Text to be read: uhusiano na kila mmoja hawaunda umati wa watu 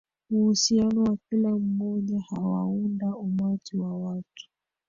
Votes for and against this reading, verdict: 1, 2, rejected